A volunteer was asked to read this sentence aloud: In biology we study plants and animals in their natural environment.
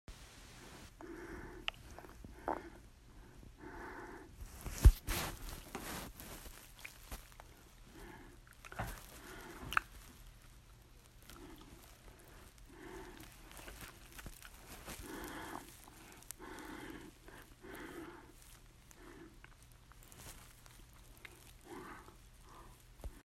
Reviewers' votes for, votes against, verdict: 0, 4, rejected